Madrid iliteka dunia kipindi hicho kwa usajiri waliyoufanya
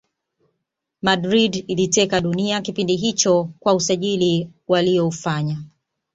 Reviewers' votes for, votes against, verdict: 2, 0, accepted